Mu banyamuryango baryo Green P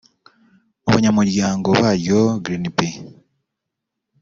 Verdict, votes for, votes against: rejected, 1, 2